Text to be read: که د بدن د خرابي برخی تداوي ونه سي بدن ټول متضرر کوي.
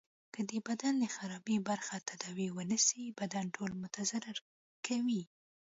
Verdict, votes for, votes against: accepted, 2, 1